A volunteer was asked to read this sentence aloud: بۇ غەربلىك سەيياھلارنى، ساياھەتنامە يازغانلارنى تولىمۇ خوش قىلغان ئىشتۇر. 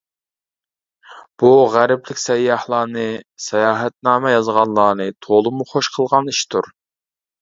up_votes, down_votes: 2, 1